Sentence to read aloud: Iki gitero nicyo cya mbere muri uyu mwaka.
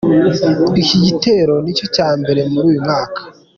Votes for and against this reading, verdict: 2, 0, accepted